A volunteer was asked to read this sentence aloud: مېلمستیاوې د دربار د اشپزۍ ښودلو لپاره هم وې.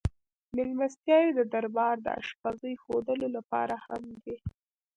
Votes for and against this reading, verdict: 1, 2, rejected